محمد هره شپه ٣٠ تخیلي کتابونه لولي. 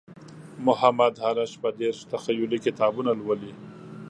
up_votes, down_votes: 0, 2